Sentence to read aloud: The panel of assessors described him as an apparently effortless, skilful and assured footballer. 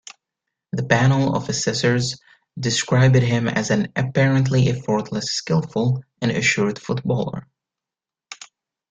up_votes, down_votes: 2, 0